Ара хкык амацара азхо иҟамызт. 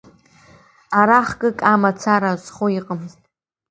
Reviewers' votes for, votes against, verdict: 2, 1, accepted